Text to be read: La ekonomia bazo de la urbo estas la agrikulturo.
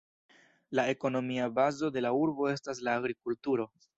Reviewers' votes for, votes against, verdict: 2, 0, accepted